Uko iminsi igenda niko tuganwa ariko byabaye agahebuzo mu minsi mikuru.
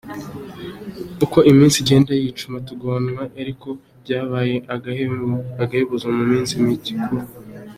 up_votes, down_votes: 2, 3